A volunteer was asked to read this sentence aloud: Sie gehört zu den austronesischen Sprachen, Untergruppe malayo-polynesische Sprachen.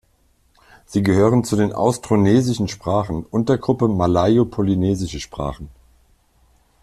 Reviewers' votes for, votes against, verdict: 1, 2, rejected